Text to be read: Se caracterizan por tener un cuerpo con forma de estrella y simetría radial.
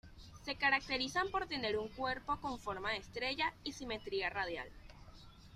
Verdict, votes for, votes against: accepted, 2, 0